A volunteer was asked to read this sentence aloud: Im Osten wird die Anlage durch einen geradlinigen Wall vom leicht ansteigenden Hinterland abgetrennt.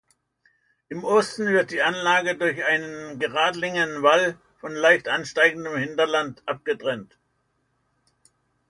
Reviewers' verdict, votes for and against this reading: rejected, 1, 2